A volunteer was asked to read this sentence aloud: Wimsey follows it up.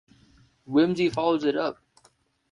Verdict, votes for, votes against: accepted, 2, 0